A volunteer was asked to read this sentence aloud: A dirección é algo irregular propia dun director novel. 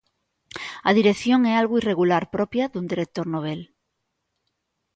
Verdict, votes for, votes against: accepted, 3, 0